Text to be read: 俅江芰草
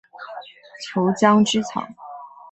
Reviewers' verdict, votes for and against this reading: accepted, 2, 0